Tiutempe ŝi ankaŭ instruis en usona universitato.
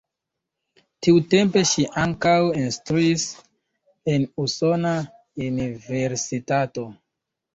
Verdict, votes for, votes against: rejected, 1, 2